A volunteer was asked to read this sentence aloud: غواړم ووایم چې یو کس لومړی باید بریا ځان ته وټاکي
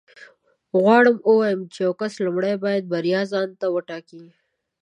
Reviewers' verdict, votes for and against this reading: accepted, 2, 0